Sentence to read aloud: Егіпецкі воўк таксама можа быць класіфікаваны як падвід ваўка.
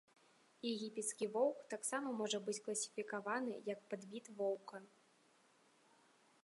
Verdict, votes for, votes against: rejected, 1, 2